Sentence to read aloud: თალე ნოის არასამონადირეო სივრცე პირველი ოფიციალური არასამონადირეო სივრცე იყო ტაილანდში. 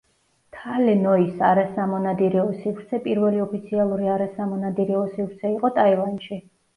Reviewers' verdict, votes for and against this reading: accepted, 2, 0